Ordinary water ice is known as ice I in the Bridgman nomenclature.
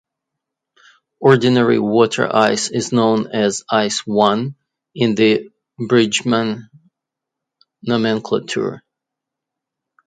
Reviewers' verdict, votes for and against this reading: rejected, 1, 2